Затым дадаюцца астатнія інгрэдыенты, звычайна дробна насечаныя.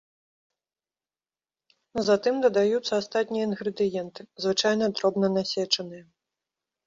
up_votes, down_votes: 2, 0